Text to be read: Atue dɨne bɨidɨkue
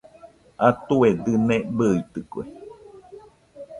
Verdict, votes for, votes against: rejected, 0, 2